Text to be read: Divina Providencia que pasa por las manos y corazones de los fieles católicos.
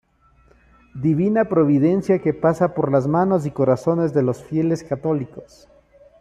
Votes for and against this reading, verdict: 2, 1, accepted